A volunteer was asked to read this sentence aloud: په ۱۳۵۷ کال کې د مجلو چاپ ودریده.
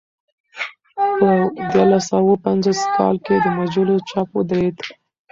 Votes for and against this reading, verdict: 0, 2, rejected